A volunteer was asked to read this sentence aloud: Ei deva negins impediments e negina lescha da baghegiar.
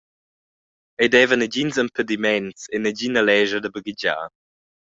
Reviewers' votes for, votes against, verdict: 2, 0, accepted